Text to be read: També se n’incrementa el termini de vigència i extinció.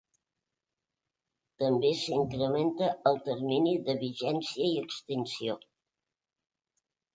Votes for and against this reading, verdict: 1, 3, rejected